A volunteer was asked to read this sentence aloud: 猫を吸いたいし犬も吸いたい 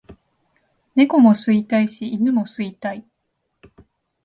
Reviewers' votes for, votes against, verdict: 0, 2, rejected